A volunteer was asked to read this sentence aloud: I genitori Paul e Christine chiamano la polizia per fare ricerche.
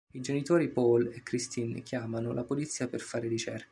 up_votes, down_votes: 1, 2